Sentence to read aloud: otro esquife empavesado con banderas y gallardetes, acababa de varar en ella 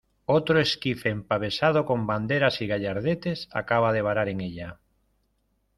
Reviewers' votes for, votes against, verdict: 1, 2, rejected